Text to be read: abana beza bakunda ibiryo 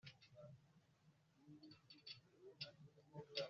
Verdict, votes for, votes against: rejected, 1, 2